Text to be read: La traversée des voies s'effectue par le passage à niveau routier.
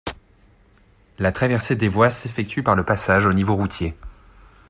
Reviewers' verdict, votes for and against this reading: rejected, 0, 2